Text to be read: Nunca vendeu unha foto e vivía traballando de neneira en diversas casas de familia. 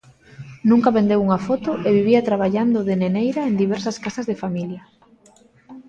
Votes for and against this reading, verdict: 2, 0, accepted